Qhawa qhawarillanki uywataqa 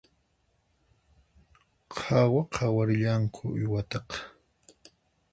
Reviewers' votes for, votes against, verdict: 2, 4, rejected